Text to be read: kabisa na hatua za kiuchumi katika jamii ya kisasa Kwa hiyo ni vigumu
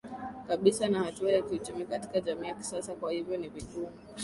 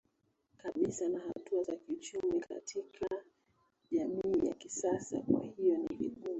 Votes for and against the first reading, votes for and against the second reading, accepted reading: 10, 1, 0, 2, first